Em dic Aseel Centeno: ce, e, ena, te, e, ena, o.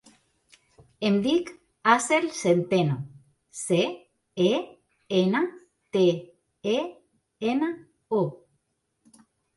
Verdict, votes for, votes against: accepted, 2, 0